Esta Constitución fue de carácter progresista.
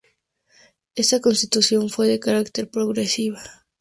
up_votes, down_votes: 2, 0